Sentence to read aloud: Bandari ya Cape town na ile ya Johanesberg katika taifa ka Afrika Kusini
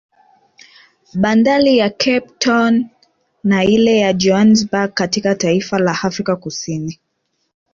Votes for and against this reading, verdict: 1, 2, rejected